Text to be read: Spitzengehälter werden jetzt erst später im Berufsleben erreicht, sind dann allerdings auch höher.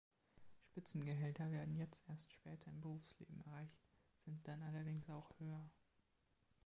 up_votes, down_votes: 0, 2